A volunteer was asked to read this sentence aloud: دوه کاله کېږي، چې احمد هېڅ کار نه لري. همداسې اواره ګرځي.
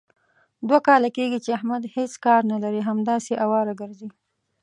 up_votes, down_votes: 1, 2